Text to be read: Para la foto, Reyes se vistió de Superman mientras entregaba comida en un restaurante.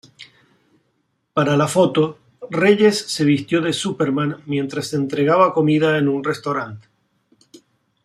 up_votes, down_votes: 2, 0